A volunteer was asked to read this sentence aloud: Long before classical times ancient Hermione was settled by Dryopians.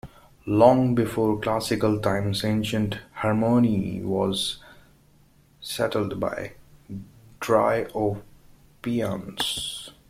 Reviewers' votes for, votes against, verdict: 0, 2, rejected